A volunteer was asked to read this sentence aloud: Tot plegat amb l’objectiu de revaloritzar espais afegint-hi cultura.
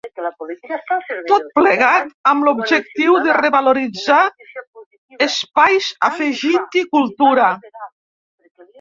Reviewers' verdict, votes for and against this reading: rejected, 0, 2